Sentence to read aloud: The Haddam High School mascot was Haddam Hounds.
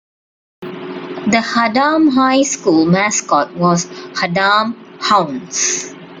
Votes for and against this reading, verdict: 2, 0, accepted